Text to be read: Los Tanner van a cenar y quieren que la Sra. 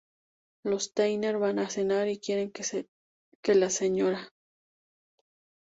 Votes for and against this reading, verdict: 0, 2, rejected